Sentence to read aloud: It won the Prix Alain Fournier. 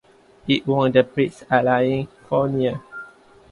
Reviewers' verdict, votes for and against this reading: accepted, 2, 0